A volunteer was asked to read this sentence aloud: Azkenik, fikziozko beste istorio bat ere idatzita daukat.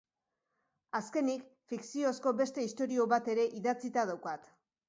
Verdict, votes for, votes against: accepted, 2, 0